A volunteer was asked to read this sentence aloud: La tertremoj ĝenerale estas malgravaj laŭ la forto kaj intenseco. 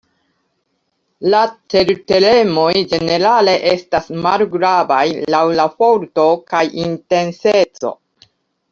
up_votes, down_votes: 1, 2